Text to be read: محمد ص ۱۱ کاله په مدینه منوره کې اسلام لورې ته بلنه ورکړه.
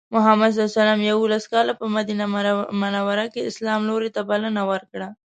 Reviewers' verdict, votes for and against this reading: rejected, 0, 2